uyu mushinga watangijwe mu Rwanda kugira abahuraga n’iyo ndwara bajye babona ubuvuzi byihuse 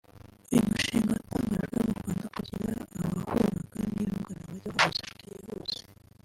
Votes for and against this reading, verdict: 2, 3, rejected